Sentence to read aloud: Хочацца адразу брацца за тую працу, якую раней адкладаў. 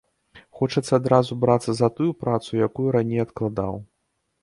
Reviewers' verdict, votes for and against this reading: accepted, 2, 0